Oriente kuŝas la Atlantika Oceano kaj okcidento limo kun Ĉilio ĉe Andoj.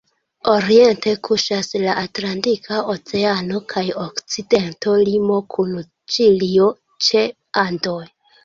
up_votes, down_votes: 2, 1